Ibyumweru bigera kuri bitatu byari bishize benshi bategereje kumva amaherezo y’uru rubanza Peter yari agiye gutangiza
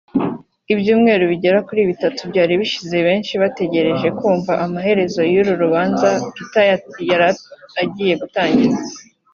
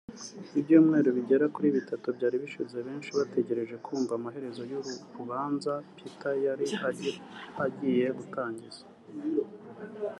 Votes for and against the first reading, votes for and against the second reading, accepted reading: 0, 2, 2, 1, second